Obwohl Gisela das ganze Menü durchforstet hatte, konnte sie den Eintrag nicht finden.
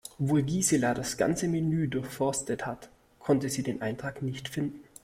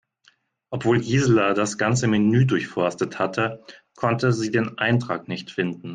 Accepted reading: second